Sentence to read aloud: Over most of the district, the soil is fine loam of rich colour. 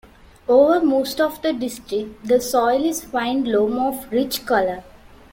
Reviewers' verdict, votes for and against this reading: accepted, 2, 0